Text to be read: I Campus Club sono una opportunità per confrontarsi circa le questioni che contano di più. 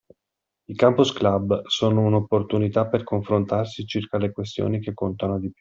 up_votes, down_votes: 2, 0